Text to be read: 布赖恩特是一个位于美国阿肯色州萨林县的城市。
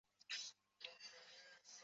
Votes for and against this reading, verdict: 0, 2, rejected